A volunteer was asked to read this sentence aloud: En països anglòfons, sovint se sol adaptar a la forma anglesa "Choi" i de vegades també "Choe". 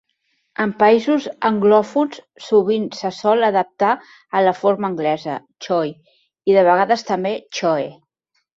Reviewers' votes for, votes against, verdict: 3, 0, accepted